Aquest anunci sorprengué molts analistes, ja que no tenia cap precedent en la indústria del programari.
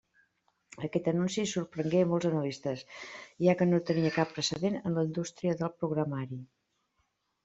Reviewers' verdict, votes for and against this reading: rejected, 0, 2